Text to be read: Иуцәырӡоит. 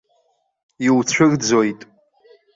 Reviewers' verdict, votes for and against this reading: rejected, 1, 2